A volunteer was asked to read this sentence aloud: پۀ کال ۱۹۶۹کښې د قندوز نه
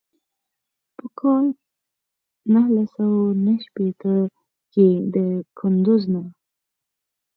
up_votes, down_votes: 0, 2